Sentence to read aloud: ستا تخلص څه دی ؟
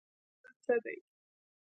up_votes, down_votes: 1, 2